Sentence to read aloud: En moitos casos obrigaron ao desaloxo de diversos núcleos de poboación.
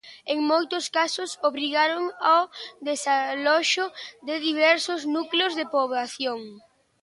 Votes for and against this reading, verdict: 2, 0, accepted